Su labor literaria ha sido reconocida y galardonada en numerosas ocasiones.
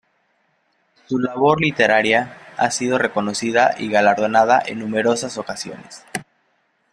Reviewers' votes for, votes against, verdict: 2, 0, accepted